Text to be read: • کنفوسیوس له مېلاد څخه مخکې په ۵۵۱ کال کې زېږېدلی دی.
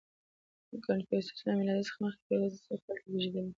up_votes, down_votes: 0, 2